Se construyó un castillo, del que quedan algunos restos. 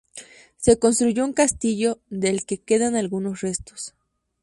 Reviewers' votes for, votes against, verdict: 2, 0, accepted